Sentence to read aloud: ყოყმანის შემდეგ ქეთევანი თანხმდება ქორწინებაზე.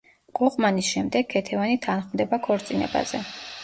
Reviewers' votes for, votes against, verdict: 1, 2, rejected